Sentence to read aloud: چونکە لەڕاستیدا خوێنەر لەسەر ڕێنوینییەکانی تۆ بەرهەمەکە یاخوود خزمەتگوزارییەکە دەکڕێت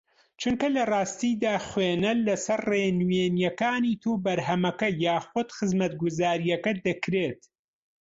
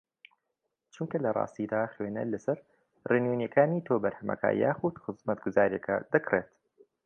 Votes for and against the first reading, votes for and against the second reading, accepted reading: 0, 2, 2, 0, second